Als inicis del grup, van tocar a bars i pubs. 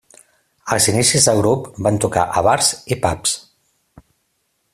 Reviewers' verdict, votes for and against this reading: accepted, 2, 0